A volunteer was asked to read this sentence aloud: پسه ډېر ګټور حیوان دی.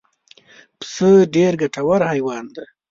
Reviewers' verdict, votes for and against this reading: accepted, 2, 0